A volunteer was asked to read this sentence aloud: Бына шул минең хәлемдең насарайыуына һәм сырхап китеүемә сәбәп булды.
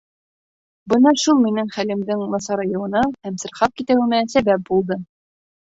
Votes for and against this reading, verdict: 0, 2, rejected